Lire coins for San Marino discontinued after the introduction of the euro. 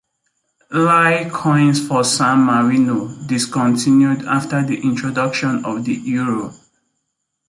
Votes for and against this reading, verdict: 2, 1, accepted